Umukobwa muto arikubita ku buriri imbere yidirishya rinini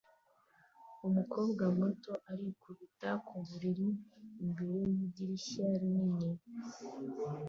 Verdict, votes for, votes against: accepted, 2, 0